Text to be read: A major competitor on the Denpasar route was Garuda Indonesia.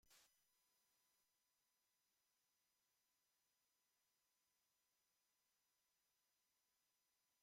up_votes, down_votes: 0, 2